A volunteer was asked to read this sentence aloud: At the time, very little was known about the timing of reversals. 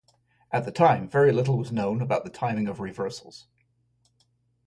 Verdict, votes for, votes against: accepted, 2, 0